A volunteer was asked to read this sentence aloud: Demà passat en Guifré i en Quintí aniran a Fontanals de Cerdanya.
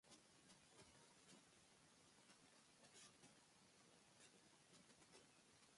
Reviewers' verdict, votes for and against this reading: rejected, 0, 2